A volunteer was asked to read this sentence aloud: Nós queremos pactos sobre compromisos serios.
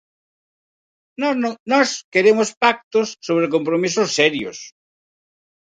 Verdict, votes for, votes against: rejected, 0, 4